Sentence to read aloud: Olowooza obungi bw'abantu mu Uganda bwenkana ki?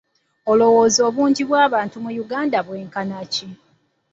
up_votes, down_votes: 2, 0